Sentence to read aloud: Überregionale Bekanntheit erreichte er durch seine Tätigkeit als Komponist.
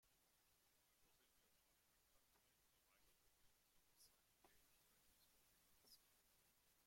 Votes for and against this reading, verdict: 0, 2, rejected